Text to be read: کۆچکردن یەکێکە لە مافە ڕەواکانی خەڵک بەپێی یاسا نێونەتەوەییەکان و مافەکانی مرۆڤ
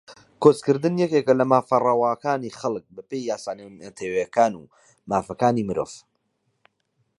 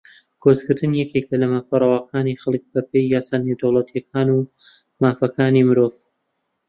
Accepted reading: first